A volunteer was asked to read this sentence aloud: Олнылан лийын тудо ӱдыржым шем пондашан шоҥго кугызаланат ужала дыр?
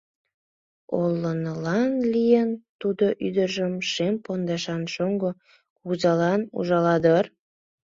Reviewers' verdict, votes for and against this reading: rejected, 1, 2